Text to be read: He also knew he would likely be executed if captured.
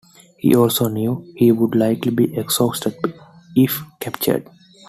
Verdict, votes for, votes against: rejected, 0, 2